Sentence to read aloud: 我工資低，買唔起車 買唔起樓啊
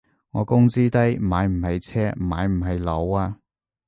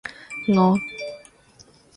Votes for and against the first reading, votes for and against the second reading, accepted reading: 2, 0, 0, 4, first